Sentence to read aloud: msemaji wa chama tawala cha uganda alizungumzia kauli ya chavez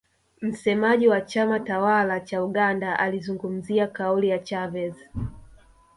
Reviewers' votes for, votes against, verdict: 1, 2, rejected